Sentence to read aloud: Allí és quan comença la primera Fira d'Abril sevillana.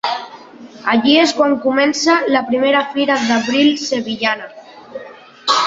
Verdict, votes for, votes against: accepted, 2, 1